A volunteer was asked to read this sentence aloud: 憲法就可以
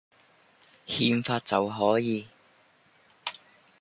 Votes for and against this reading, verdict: 0, 2, rejected